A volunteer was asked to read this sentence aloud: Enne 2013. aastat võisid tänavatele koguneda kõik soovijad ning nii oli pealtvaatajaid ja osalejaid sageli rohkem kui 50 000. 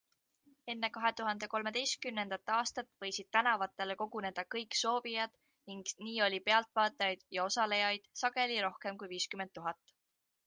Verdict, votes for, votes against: rejected, 0, 2